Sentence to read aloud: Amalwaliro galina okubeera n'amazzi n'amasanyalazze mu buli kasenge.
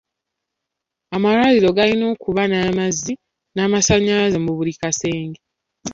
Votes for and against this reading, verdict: 1, 2, rejected